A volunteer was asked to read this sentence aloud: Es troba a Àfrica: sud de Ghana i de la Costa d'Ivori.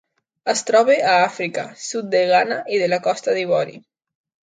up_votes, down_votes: 2, 0